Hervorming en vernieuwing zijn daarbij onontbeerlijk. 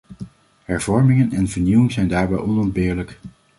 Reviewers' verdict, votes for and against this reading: rejected, 1, 2